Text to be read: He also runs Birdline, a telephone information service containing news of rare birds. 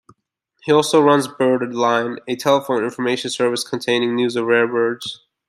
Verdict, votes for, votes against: accepted, 2, 1